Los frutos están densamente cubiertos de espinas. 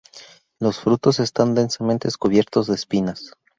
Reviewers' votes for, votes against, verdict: 0, 2, rejected